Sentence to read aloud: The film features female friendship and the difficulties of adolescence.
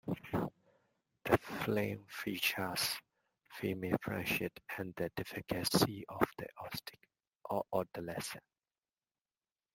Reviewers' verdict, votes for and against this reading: rejected, 0, 2